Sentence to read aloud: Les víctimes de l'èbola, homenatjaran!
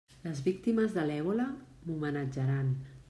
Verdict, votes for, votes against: accepted, 2, 0